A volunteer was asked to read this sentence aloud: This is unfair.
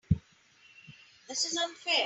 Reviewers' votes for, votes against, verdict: 3, 0, accepted